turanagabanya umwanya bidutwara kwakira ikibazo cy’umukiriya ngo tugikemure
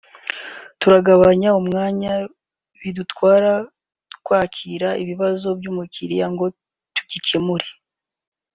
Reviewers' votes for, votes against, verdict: 0, 2, rejected